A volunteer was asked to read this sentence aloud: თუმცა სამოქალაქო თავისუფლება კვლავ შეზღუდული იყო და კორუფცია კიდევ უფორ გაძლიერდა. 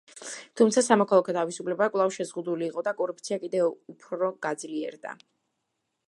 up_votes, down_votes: 1, 2